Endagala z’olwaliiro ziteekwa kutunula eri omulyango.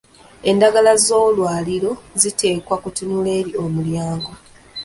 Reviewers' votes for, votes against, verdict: 0, 2, rejected